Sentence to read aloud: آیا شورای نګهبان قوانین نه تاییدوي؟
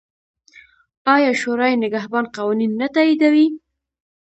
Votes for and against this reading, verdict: 2, 0, accepted